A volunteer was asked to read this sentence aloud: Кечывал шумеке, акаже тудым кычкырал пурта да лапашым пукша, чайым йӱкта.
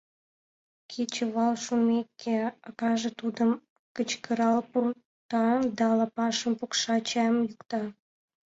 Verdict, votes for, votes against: accepted, 2, 0